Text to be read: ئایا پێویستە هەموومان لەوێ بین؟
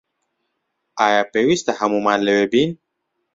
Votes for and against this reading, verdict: 2, 0, accepted